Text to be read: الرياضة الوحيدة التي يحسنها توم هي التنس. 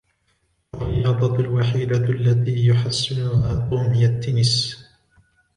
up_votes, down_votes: 1, 2